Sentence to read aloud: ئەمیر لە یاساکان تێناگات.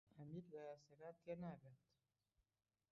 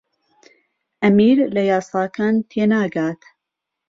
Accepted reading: second